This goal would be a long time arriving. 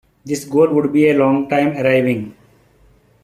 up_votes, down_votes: 2, 0